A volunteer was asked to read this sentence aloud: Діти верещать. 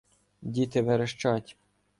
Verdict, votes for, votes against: accepted, 2, 0